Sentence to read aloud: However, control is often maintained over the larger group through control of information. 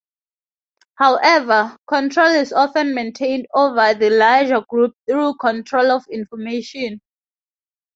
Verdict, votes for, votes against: accepted, 2, 0